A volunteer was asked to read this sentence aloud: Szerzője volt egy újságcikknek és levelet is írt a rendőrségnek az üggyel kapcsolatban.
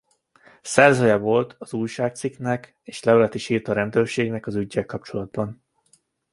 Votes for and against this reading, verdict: 1, 2, rejected